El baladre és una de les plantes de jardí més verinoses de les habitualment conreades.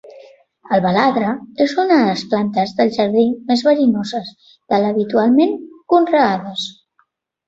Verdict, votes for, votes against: rejected, 1, 3